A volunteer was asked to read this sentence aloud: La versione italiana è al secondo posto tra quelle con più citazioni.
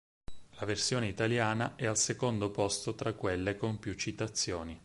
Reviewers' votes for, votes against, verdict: 8, 0, accepted